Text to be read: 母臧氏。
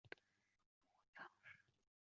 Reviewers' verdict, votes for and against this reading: rejected, 0, 2